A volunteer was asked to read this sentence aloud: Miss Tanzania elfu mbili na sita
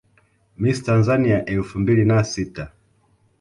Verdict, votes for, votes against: accepted, 2, 0